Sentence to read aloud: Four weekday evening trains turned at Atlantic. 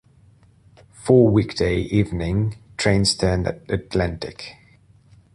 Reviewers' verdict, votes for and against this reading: accepted, 2, 1